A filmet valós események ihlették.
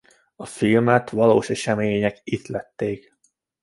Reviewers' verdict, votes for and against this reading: accepted, 2, 0